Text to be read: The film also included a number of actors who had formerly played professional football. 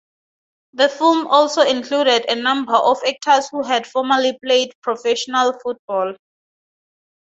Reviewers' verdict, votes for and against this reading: accepted, 2, 0